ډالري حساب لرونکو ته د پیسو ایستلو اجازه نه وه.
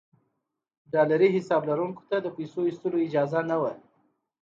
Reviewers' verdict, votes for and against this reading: accepted, 2, 0